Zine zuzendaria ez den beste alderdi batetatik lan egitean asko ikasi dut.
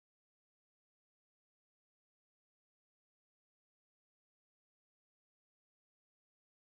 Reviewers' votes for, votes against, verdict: 0, 2, rejected